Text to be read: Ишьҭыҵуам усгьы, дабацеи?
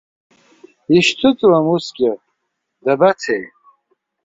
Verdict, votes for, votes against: accepted, 4, 0